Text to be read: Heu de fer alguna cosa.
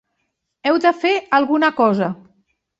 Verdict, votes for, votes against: accepted, 4, 1